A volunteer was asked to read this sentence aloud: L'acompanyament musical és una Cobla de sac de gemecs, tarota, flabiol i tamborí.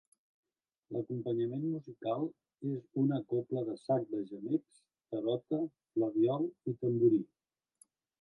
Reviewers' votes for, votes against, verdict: 1, 2, rejected